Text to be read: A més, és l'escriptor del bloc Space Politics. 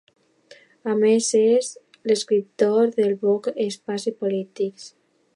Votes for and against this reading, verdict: 1, 2, rejected